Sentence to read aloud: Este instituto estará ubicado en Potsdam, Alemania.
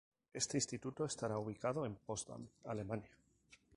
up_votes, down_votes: 0, 2